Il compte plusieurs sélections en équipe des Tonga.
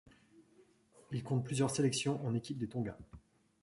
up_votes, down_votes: 2, 1